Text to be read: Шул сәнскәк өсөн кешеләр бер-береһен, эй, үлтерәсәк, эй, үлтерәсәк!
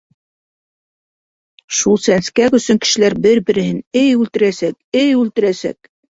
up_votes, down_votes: 2, 0